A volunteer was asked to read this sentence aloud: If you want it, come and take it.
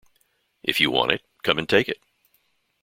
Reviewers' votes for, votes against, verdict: 2, 0, accepted